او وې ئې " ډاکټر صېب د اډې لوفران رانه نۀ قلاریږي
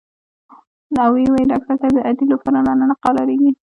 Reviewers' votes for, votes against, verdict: 0, 2, rejected